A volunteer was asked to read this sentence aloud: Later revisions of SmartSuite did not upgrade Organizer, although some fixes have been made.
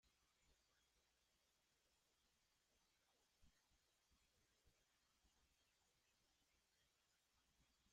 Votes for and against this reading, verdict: 0, 2, rejected